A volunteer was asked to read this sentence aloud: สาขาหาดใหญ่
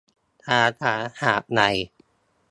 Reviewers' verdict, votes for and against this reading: rejected, 1, 2